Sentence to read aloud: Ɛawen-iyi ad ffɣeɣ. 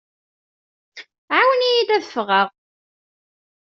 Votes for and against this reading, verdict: 1, 2, rejected